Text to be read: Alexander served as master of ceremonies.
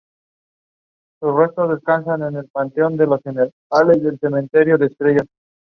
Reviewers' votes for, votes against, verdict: 0, 2, rejected